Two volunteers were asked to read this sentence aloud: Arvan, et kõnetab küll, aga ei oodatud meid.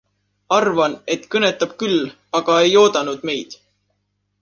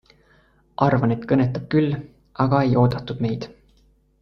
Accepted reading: second